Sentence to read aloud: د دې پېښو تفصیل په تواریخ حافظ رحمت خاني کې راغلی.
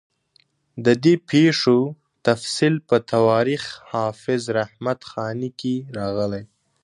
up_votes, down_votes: 2, 0